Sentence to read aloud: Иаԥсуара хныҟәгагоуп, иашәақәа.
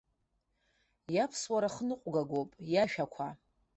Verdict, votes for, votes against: accepted, 2, 0